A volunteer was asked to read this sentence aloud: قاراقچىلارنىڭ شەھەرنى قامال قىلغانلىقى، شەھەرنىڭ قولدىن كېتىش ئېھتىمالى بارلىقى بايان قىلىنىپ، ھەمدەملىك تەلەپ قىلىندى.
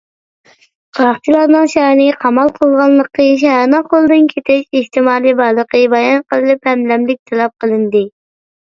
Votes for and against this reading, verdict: 1, 2, rejected